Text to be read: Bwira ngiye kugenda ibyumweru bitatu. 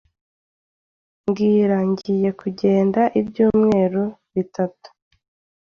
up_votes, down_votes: 2, 0